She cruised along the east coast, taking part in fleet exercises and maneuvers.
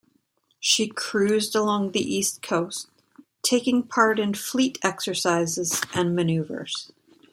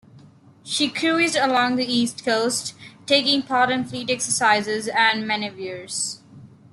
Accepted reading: first